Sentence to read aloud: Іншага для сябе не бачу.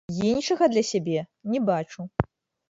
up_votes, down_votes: 1, 2